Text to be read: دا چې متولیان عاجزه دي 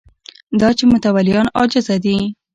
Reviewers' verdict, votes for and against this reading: accepted, 2, 0